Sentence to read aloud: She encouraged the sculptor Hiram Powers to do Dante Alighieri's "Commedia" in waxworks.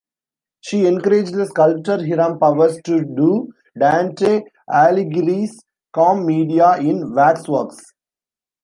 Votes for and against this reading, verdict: 0, 2, rejected